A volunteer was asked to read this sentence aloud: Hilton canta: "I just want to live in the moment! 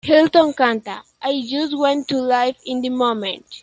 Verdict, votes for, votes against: rejected, 1, 2